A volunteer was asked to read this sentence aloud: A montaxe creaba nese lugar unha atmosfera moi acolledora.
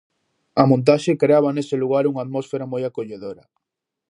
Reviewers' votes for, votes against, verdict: 0, 2, rejected